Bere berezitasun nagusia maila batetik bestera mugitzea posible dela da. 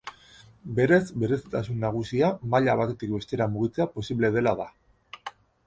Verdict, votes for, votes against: rejected, 1, 2